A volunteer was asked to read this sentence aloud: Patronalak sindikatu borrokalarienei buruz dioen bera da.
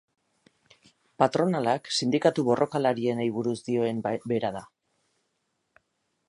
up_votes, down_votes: 0, 4